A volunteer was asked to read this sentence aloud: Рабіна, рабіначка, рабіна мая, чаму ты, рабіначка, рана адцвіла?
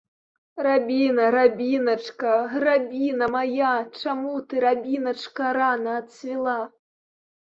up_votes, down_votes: 2, 0